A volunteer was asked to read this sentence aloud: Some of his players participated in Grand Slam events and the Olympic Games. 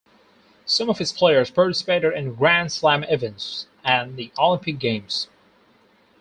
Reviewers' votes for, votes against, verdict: 0, 2, rejected